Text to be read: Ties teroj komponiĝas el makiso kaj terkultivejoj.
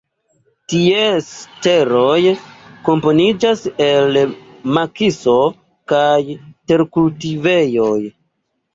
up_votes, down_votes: 1, 2